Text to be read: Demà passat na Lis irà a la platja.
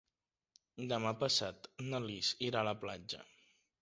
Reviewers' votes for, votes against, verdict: 2, 0, accepted